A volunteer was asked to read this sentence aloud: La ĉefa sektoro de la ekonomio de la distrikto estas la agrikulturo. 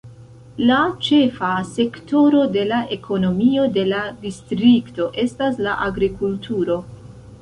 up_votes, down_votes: 2, 0